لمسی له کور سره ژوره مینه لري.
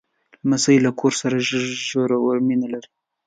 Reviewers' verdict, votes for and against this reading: rejected, 1, 2